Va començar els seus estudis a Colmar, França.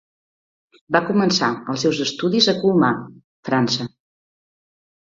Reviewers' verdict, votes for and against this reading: accepted, 2, 1